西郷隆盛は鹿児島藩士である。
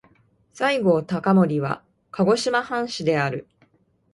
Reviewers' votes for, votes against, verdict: 2, 1, accepted